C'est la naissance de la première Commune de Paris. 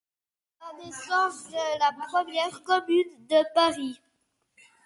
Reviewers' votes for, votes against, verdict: 0, 2, rejected